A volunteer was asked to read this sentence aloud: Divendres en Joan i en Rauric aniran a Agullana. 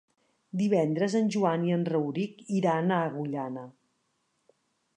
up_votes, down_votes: 1, 2